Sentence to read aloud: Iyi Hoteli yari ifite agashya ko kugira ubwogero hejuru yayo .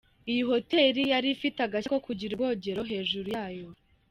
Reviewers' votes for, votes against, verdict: 3, 0, accepted